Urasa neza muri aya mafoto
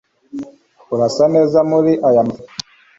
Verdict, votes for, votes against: rejected, 1, 2